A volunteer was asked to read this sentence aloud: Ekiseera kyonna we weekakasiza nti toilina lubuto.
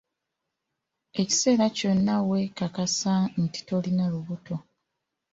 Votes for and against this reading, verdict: 2, 0, accepted